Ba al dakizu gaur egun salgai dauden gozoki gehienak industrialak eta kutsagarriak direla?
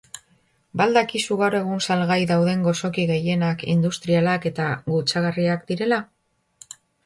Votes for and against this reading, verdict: 1, 2, rejected